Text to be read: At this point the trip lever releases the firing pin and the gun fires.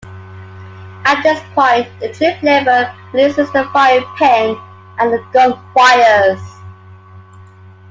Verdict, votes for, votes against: accepted, 2, 1